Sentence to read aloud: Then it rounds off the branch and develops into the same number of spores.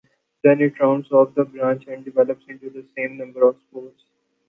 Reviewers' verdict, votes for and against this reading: accepted, 2, 0